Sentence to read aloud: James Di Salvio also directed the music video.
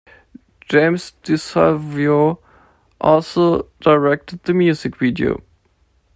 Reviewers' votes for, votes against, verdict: 2, 0, accepted